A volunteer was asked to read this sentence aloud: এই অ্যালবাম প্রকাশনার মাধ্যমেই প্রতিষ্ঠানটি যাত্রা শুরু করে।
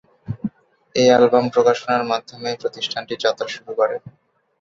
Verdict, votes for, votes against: accepted, 6, 0